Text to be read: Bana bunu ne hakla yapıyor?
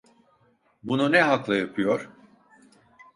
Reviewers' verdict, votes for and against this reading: rejected, 0, 2